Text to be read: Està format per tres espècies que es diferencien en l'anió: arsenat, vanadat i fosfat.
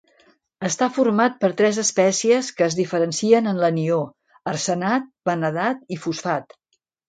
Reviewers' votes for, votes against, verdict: 2, 1, accepted